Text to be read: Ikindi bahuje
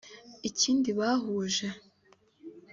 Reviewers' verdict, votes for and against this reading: accepted, 2, 0